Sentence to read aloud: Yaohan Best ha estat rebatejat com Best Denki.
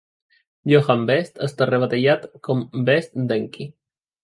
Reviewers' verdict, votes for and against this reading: rejected, 0, 2